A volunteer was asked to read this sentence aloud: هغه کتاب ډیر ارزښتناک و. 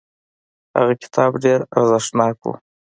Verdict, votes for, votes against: accepted, 2, 1